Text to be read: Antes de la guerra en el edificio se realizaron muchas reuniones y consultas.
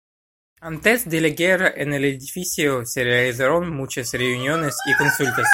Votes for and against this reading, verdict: 1, 2, rejected